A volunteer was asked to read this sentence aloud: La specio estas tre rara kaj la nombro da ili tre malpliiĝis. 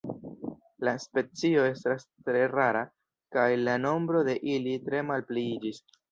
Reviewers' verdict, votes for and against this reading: rejected, 0, 2